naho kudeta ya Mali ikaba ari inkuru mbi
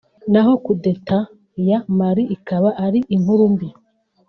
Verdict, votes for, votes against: accepted, 3, 0